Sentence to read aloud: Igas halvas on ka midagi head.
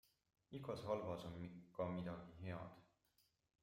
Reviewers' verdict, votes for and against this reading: rejected, 0, 2